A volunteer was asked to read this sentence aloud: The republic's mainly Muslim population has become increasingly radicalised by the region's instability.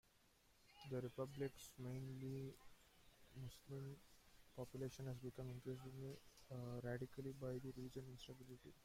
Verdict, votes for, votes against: rejected, 0, 2